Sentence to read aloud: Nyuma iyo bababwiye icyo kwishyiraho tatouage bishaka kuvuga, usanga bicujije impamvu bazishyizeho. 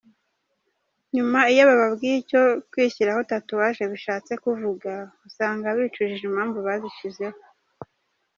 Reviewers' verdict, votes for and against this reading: rejected, 1, 2